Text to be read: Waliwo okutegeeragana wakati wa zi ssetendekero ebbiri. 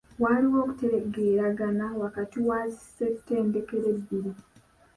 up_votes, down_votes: 0, 2